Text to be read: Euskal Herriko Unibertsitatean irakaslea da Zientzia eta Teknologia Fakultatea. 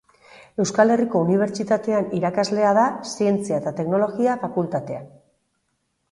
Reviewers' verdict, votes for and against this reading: accepted, 3, 2